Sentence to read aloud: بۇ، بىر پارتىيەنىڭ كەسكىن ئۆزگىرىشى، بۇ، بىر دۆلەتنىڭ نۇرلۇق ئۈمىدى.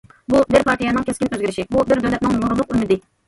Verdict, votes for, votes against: rejected, 1, 2